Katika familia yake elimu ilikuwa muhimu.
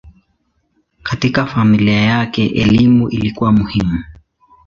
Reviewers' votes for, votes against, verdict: 2, 0, accepted